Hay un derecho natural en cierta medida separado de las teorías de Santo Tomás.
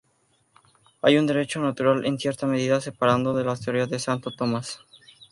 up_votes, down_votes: 0, 2